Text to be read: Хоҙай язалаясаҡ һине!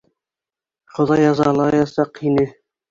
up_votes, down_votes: 2, 0